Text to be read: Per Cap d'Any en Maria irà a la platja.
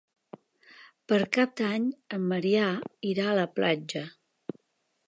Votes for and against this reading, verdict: 0, 2, rejected